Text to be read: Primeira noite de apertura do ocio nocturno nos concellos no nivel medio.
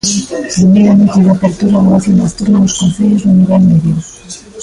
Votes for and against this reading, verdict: 0, 2, rejected